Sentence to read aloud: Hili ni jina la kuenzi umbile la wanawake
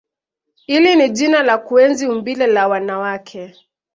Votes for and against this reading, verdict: 2, 0, accepted